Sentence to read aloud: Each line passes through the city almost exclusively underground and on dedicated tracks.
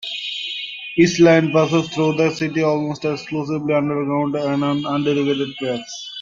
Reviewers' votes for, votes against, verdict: 0, 2, rejected